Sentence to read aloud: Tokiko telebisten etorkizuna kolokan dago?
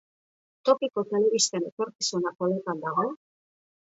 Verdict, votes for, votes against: rejected, 1, 2